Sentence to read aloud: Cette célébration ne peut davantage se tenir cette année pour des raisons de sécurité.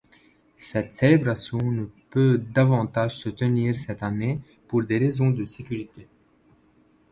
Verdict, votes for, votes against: accepted, 2, 0